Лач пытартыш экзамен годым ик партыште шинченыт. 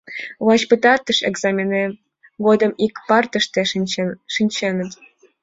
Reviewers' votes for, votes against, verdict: 0, 2, rejected